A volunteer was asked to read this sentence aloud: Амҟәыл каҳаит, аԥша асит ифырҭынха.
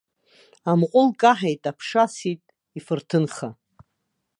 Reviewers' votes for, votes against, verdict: 1, 2, rejected